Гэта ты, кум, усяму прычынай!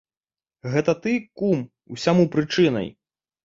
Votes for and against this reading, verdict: 2, 0, accepted